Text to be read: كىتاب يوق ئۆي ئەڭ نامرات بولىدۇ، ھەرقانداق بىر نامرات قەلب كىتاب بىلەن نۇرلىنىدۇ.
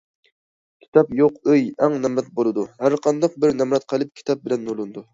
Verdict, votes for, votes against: accepted, 2, 0